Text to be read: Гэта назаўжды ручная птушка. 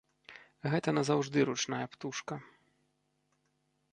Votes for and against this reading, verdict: 3, 1, accepted